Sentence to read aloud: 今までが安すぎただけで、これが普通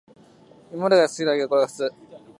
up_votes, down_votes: 0, 2